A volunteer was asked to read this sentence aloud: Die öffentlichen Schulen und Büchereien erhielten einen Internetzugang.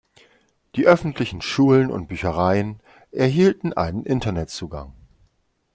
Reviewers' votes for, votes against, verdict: 2, 0, accepted